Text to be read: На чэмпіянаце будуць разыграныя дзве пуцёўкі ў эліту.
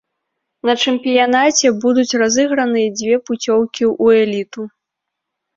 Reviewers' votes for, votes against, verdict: 1, 2, rejected